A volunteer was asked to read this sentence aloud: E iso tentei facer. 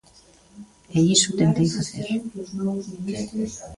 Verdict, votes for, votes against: accepted, 4, 2